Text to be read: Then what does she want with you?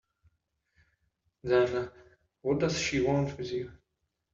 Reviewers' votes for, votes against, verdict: 2, 0, accepted